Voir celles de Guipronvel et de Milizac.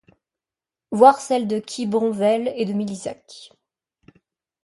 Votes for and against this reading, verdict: 1, 2, rejected